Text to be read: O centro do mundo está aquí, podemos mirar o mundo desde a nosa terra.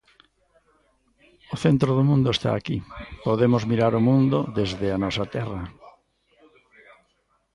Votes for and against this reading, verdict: 2, 0, accepted